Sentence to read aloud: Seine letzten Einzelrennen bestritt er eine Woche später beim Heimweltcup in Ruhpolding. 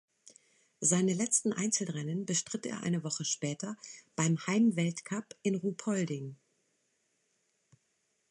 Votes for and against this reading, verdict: 2, 0, accepted